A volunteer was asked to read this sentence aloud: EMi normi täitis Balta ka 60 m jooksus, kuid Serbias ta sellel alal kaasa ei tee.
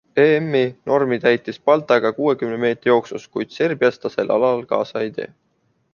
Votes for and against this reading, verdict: 0, 2, rejected